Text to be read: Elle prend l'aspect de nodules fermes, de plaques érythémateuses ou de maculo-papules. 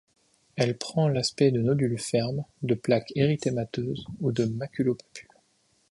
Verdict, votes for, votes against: rejected, 1, 2